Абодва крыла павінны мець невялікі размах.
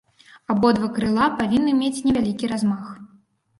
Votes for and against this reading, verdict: 2, 0, accepted